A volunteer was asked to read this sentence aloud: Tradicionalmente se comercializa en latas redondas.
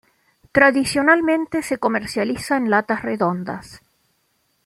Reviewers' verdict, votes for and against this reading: accepted, 2, 0